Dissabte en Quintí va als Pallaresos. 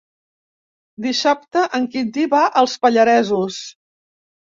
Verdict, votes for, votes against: accepted, 3, 0